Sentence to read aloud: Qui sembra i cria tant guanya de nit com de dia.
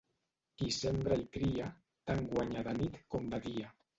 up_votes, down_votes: 1, 2